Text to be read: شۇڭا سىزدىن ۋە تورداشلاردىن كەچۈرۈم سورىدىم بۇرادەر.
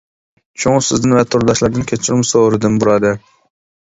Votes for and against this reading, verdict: 2, 0, accepted